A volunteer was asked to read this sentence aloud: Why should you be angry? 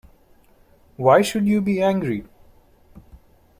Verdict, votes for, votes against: accepted, 2, 0